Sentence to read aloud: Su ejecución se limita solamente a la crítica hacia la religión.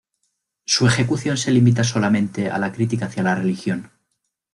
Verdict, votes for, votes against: rejected, 0, 2